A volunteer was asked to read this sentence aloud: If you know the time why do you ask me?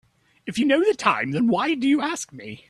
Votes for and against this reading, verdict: 4, 3, accepted